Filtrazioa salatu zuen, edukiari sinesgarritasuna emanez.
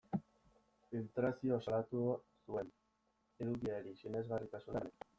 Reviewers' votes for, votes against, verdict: 0, 2, rejected